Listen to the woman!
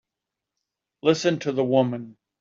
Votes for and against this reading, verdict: 2, 0, accepted